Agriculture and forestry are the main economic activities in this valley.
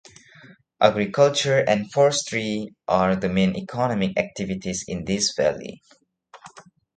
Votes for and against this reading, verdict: 1, 2, rejected